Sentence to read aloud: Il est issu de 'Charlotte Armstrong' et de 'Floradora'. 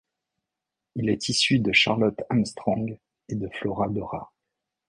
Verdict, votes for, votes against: accepted, 2, 0